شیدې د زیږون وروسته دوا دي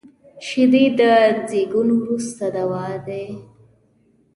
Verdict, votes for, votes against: accepted, 2, 0